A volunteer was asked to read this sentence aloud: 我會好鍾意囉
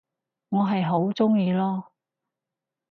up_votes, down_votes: 0, 4